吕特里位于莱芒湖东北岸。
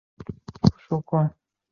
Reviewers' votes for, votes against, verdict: 3, 4, rejected